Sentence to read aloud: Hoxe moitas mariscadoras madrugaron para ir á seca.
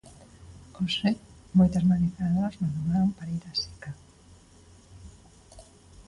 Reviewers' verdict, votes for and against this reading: rejected, 0, 2